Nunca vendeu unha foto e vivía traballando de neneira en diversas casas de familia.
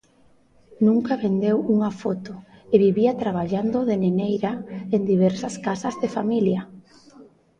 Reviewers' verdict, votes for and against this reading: rejected, 1, 2